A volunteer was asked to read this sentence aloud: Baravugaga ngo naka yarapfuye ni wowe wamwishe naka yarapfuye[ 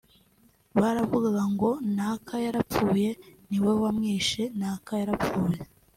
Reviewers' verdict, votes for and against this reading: accepted, 2, 1